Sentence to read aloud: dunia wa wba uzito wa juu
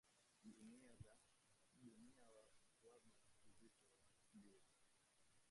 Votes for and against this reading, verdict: 0, 2, rejected